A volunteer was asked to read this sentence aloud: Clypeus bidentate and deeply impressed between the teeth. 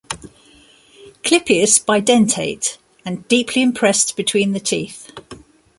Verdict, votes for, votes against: accepted, 2, 0